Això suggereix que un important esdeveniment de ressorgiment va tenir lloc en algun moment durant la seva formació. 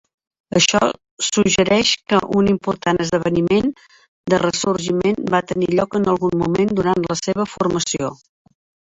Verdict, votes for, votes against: accepted, 3, 1